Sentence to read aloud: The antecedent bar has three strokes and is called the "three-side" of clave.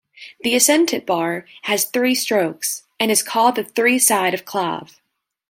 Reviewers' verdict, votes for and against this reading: rejected, 0, 2